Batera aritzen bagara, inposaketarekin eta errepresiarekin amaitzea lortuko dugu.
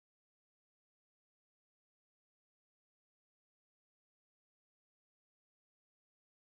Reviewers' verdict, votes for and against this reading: rejected, 1, 2